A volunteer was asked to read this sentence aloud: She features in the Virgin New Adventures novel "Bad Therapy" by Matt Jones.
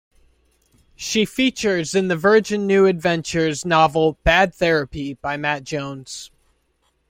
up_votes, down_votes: 2, 0